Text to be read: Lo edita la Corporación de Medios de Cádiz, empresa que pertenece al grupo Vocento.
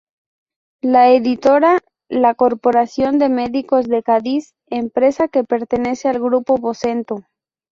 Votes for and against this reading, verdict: 2, 2, rejected